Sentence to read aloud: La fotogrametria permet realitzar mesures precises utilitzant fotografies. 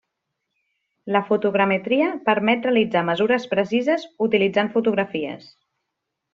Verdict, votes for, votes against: rejected, 0, 2